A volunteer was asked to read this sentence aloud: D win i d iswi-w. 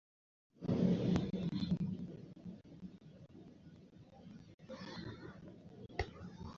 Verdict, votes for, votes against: rejected, 0, 2